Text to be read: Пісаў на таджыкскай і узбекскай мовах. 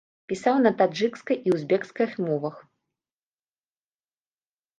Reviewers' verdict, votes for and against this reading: rejected, 0, 2